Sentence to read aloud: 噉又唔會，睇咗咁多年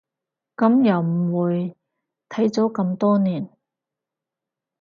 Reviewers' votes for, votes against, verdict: 4, 0, accepted